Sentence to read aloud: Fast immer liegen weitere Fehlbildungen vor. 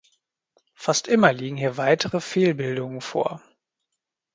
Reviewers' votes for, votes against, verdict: 1, 2, rejected